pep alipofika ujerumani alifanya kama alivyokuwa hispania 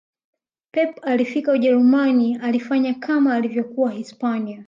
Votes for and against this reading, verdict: 2, 1, accepted